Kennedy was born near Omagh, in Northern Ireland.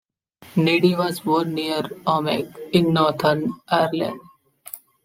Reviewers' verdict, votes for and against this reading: accepted, 2, 0